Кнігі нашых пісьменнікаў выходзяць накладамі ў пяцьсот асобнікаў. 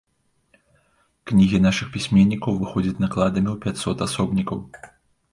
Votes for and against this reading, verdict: 2, 0, accepted